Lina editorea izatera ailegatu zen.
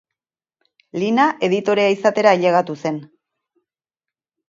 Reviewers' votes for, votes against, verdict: 0, 2, rejected